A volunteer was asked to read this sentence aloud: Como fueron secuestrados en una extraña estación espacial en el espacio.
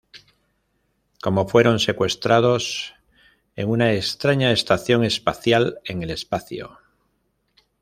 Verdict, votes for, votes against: rejected, 1, 2